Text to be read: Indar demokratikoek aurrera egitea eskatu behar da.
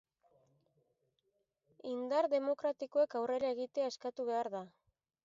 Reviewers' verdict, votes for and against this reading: accepted, 2, 0